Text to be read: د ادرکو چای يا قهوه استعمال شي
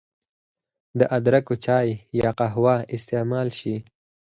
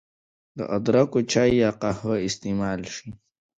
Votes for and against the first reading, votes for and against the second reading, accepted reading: 4, 0, 1, 2, first